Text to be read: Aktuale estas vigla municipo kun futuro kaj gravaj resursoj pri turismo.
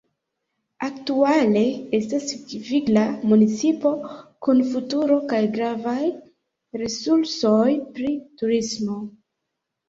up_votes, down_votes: 0, 2